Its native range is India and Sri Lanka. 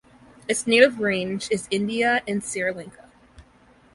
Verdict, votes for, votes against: rejected, 0, 2